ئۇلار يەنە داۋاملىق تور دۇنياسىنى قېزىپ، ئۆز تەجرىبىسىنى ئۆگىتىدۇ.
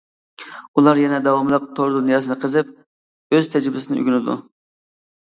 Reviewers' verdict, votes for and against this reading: rejected, 0, 2